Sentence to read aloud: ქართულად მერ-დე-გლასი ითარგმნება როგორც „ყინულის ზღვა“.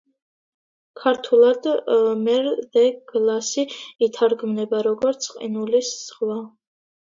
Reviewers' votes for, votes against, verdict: 2, 1, accepted